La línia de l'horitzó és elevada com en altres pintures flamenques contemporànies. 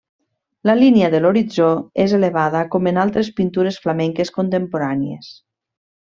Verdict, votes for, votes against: accepted, 3, 0